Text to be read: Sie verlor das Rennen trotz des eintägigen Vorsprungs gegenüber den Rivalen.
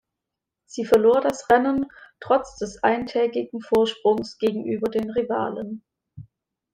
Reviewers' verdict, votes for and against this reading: accepted, 2, 1